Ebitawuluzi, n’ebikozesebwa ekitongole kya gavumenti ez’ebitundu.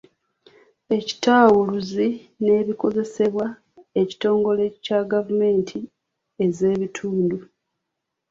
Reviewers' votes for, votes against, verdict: 1, 2, rejected